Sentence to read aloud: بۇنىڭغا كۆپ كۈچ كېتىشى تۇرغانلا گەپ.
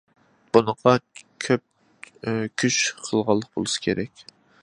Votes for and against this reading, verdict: 0, 2, rejected